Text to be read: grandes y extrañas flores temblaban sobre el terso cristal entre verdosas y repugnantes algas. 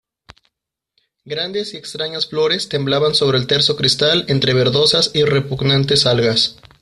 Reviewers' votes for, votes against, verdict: 2, 0, accepted